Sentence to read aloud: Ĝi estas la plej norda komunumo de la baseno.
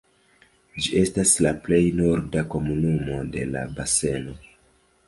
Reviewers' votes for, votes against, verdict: 2, 1, accepted